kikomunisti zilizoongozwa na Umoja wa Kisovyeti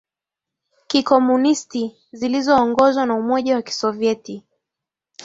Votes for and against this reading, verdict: 2, 0, accepted